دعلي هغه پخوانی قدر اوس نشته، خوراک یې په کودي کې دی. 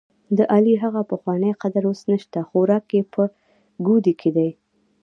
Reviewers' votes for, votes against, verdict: 0, 2, rejected